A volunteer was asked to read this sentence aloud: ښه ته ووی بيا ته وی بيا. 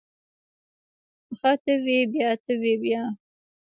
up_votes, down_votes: 0, 2